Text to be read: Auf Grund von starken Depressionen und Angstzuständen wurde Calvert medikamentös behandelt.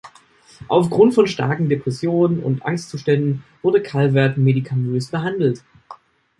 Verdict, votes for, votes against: rejected, 0, 2